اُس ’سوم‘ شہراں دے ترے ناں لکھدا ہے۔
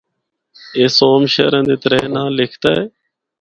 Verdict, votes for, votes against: accepted, 4, 0